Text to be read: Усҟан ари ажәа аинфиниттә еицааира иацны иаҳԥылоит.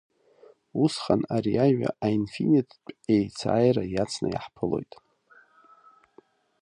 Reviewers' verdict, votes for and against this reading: accepted, 2, 1